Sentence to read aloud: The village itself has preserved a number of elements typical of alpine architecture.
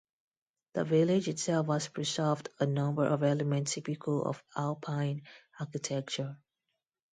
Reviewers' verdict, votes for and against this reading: accepted, 2, 0